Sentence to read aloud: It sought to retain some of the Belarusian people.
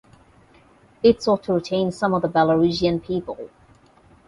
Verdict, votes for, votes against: rejected, 4, 4